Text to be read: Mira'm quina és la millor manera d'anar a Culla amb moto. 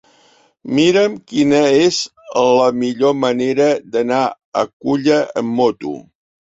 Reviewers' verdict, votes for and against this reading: accepted, 3, 1